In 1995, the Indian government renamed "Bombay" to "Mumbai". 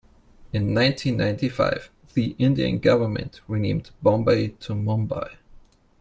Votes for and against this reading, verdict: 0, 2, rejected